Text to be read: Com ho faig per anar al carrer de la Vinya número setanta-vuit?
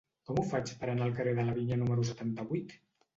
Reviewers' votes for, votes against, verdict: 2, 0, accepted